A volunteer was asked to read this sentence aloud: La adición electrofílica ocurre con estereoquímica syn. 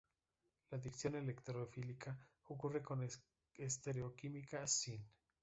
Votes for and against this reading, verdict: 1, 2, rejected